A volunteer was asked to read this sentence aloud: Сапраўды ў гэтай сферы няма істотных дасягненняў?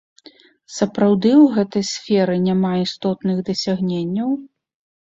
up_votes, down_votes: 2, 0